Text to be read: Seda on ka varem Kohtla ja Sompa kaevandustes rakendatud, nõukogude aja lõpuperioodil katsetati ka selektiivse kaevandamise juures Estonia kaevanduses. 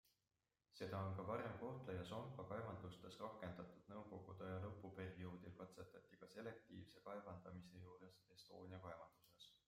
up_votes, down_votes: 2, 0